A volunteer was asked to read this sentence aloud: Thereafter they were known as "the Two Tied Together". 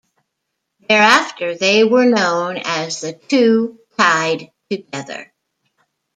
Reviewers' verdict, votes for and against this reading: rejected, 0, 2